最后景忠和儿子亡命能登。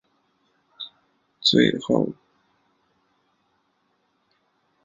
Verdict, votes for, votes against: rejected, 0, 3